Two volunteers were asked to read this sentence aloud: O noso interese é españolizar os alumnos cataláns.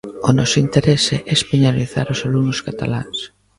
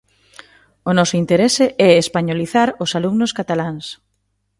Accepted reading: second